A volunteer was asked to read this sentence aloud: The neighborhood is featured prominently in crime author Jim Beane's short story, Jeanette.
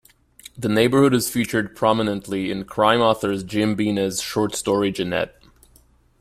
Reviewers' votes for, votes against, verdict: 1, 2, rejected